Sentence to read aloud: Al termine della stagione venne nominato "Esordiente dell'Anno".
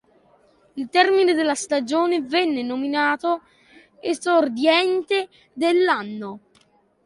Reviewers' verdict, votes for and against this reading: rejected, 0, 3